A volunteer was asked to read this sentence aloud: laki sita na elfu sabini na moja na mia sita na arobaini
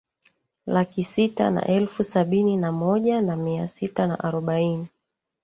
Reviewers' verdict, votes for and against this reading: rejected, 1, 2